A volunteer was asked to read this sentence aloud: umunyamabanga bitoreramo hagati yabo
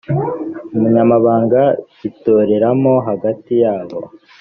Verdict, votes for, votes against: accepted, 2, 0